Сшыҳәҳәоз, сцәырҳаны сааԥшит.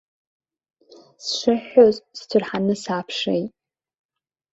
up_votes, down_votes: 2, 1